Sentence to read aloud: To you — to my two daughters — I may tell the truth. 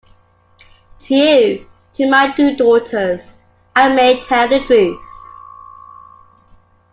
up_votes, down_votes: 2, 1